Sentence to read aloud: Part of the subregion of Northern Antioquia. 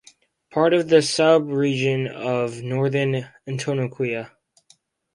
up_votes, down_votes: 2, 4